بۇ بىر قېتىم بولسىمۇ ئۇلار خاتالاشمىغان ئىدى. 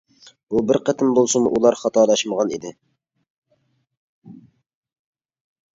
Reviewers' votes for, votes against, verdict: 2, 0, accepted